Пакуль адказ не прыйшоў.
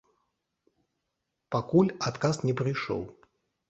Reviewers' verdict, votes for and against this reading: accepted, 3, 0